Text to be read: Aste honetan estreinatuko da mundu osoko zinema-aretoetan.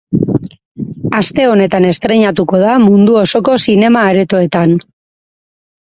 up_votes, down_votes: 2, 2